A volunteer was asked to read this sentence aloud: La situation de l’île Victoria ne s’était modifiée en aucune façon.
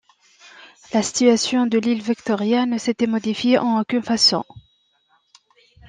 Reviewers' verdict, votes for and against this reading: rejected, 0, 2